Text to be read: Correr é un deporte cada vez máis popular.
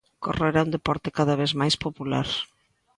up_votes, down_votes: 2, 0